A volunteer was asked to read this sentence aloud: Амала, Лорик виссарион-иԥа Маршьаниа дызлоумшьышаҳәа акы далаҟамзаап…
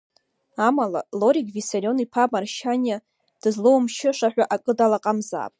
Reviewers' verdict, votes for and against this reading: accepted, 2, 1